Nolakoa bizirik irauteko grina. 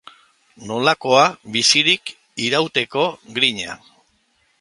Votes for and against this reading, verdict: 2, 0, accepted